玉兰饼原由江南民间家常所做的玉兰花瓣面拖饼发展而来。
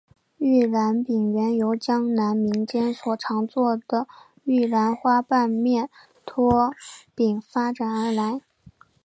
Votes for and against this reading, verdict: 2, 0, accepted